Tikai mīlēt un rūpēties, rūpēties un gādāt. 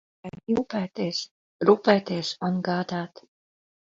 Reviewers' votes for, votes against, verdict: 0, 2, rejected